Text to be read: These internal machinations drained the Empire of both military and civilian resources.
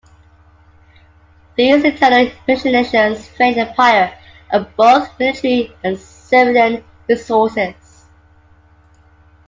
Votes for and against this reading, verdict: 0, 2, rejected